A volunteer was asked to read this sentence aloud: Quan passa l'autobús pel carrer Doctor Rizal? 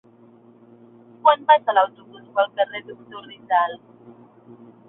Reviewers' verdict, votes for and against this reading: rejected, 1, 2